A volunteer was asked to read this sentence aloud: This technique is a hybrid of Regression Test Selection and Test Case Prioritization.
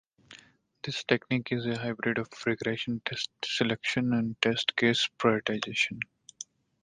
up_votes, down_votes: 1, 3